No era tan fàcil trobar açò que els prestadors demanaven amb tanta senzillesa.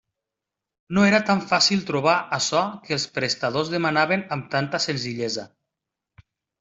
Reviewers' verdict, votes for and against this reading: accepted, 2, 0